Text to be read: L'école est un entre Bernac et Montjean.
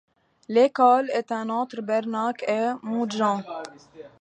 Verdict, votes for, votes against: accepted, 2, 0